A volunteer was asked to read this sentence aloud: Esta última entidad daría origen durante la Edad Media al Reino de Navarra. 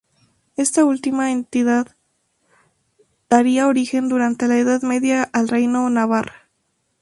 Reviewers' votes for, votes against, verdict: 0, 4, rejected